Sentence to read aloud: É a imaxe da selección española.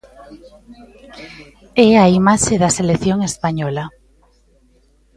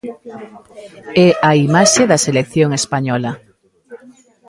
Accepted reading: first